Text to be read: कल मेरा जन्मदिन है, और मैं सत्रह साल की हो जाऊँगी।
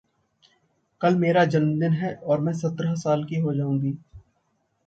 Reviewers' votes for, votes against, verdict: 2, 0, accepted